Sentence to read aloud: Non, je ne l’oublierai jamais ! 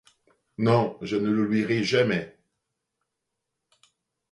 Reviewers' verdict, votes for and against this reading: accepted, 2, 0